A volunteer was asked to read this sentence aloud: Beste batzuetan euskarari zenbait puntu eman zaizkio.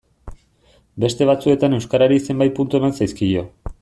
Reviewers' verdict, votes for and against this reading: accepted, 2, 0